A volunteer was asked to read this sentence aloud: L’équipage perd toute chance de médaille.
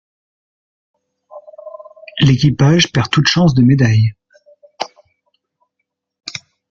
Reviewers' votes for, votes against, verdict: 2, 0, accepted